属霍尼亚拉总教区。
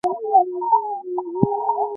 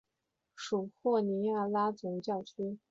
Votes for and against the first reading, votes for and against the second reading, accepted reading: 0, 2, 6, 0, second